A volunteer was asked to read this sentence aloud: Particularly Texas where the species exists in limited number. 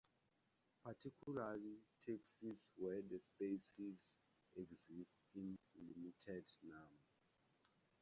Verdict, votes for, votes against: rejected, 0, 4